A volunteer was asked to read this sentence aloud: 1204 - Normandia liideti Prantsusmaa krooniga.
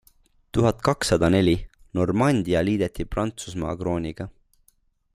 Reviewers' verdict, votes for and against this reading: rejected, 0, 2